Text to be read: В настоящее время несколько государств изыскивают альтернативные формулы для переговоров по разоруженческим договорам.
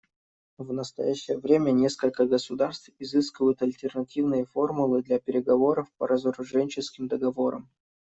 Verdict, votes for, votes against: accepted, 2, 0